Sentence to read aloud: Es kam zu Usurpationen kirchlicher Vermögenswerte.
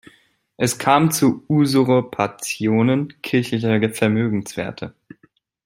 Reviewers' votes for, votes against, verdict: 0, 2, rejected